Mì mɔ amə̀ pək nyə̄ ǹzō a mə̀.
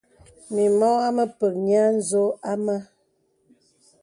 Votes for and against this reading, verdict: 2, 0, accepted